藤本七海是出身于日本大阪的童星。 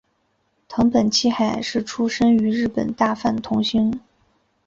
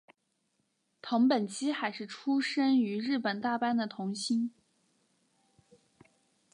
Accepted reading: second